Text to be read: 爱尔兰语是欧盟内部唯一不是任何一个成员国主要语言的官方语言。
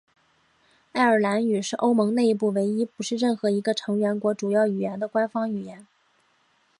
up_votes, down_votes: 2, 0